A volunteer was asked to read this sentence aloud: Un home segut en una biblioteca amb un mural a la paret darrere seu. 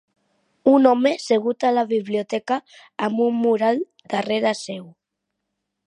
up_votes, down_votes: 1, 2